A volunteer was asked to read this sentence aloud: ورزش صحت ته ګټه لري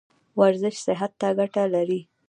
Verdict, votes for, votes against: rejected, 1, 2